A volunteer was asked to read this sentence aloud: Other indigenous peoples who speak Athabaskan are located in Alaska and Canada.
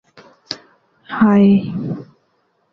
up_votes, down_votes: 0, 2